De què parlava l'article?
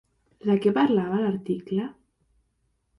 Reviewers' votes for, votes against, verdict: 3, 0, accepted